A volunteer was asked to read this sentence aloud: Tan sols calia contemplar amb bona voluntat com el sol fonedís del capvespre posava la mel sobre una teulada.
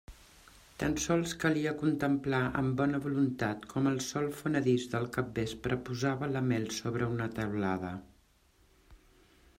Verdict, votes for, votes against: accepted, 2, 0